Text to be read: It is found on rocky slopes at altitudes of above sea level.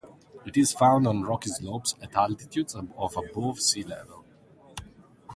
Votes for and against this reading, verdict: 2, 4, rejected